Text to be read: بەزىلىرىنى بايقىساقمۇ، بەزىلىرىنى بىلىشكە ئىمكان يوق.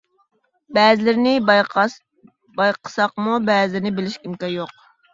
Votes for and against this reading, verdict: 0, 2, rejected